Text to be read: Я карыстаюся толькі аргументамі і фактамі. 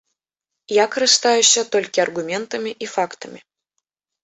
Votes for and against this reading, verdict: 1, 2, rejected